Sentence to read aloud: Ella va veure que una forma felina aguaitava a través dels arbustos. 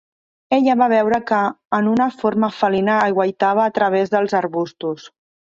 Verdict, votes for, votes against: rejected, 0, 2